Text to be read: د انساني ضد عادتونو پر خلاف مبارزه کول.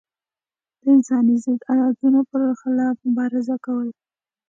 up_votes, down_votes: 2, 0